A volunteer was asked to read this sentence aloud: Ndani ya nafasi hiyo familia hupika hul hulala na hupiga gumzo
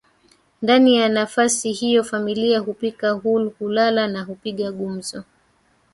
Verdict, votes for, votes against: accepted, 2, 1